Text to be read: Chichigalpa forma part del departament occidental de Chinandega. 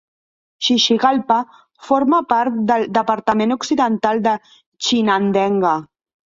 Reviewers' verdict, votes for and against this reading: rejected, 0, 2